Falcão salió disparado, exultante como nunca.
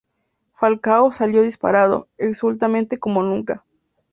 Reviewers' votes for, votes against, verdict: 0, 2, rejected